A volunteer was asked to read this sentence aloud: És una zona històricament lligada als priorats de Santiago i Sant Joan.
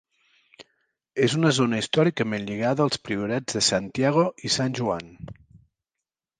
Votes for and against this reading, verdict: 2, 0, accepted